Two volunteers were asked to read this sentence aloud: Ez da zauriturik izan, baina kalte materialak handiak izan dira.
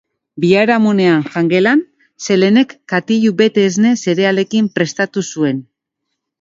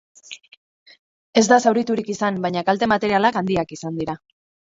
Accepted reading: second